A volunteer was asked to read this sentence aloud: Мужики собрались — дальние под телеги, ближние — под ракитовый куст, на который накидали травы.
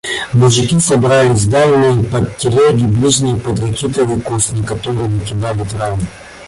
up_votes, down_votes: 1, 2